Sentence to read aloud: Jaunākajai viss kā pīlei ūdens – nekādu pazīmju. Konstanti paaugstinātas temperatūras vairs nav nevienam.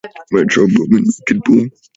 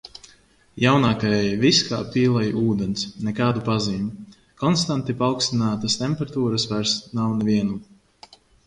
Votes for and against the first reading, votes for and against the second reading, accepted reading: 0, 2, 2, 0, second